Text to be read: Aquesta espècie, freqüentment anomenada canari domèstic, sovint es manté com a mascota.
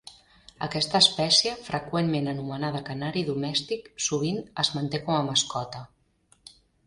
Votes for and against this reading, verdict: 3, 0, accepted